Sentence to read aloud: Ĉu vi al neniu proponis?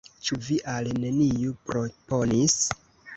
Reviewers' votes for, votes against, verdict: 1, 2, rejected